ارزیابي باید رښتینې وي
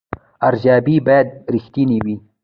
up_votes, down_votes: 0, 2